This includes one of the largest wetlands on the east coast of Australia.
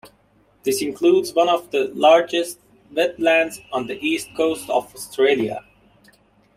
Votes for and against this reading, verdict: 2, 0, accepted